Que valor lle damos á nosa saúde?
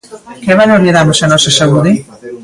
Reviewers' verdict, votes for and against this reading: rejected, 1, 2